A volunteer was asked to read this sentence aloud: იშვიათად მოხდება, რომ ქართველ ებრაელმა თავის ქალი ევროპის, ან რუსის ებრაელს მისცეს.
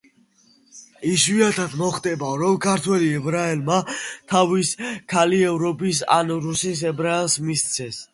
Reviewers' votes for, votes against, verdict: 2, 1, accepted